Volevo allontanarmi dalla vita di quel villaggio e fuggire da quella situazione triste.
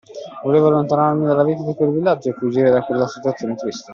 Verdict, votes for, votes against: accepted, 2, 1